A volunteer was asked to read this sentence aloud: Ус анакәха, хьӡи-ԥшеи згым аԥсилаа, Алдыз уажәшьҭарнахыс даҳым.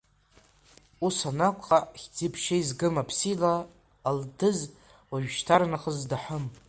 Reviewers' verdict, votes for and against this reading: accepted, 2, 1